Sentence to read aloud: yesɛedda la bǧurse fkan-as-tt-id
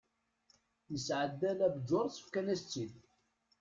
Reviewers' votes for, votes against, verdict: 0, 2, rejected